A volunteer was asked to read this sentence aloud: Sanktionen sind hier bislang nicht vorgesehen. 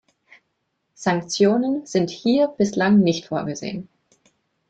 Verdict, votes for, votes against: accepted, 2, 0